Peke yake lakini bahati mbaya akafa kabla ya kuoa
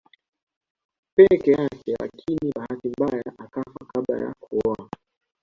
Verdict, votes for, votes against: accepted, 2, 0